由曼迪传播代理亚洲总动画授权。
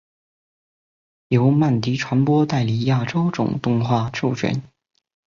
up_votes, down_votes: 4, 0